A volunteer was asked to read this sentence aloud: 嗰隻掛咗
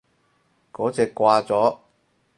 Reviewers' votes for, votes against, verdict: 4, 0, accepted